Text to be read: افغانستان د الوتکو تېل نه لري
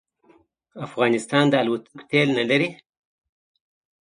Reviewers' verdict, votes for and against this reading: accepted, 2, 0